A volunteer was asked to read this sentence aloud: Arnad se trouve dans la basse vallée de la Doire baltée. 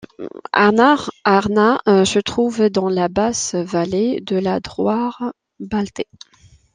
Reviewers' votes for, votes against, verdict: 0, 2, rejected